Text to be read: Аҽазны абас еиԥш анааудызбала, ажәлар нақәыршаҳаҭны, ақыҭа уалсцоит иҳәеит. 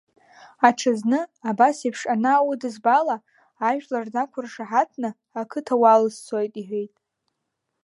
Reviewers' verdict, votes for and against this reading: accepted, 2, 0